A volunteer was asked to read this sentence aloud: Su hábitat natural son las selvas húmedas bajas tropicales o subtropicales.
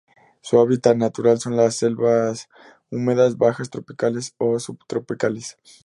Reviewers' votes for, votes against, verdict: 2, 0, accepted